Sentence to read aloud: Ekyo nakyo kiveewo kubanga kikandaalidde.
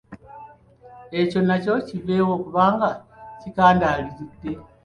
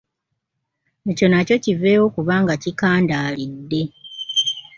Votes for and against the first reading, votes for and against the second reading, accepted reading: 1, 3, 2, 1, second